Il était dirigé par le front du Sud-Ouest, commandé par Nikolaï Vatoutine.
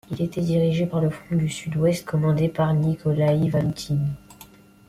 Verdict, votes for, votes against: rejected, 0, 2